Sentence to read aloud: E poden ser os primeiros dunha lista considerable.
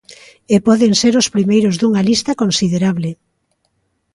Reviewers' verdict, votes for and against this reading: accepted, 2, 0